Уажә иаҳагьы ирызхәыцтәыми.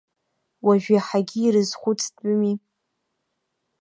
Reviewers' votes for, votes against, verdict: 2, 0, accepted